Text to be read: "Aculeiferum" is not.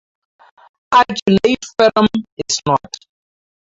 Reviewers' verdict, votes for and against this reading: rejected, 0, 4